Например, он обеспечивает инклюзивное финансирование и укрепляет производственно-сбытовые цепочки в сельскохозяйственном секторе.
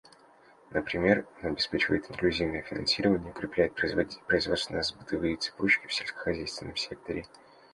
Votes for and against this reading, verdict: 1, 2, rejected